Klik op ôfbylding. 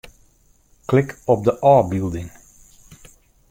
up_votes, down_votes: 0, 2